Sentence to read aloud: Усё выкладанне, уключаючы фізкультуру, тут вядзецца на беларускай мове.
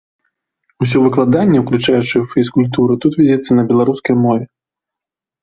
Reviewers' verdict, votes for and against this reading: accepted, 2, 0